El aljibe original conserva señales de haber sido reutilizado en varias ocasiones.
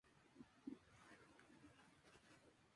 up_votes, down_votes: 0, 2